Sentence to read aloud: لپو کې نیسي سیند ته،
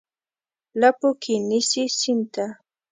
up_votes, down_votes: 2, 0